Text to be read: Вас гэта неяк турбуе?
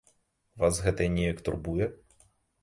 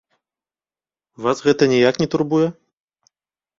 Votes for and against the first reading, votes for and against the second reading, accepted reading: 2, 0, 1, 2, first